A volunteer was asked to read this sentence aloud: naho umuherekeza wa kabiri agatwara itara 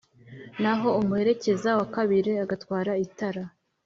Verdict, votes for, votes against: accepted, 2, 0